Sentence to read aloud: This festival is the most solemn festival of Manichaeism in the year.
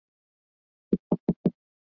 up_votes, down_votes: 0, 2